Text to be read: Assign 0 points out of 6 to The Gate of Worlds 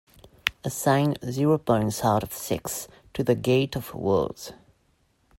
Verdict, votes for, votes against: rejected, 0, 2